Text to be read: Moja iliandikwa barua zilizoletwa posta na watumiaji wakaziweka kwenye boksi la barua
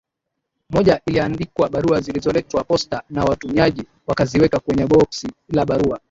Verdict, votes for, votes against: accepted, 2, 0